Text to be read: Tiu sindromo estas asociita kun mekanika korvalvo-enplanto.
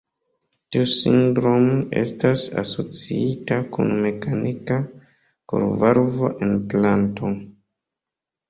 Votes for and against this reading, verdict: 1, 2, rejected